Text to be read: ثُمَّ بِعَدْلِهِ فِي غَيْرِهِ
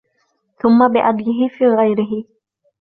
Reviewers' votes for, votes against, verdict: 2, 0, accepted